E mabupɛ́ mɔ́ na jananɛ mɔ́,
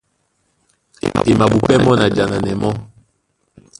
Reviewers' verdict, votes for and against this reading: rejected, 1, 2